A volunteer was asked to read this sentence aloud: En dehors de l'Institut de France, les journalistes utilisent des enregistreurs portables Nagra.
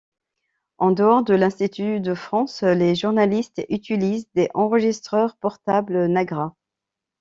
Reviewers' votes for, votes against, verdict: 0, 2, rejected